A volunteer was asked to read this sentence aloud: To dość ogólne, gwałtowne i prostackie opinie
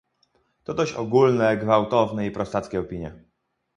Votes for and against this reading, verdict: 2, 2, rejected